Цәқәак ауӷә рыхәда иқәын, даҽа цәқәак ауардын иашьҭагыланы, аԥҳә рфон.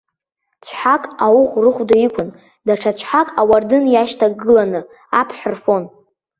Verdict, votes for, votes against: rejected, 0, 2